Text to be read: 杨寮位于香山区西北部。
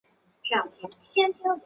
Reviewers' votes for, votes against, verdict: 1, 2, rejected